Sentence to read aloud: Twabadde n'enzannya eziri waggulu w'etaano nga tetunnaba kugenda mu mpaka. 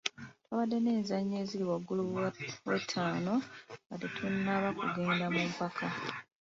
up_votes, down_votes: 2, 0